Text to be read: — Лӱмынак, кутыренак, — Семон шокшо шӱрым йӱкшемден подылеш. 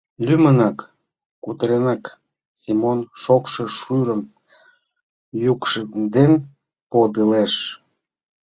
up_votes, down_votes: 0, 2